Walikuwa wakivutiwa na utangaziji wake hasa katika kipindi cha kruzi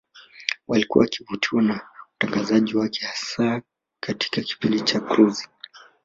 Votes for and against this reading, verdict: 1, 2, rejected